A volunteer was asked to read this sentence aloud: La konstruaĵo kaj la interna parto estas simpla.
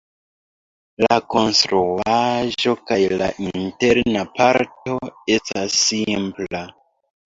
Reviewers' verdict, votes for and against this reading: accepted, 2, 1